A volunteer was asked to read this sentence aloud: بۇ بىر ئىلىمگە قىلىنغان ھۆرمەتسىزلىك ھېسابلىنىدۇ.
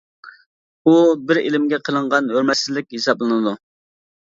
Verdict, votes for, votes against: rejected, 1, 2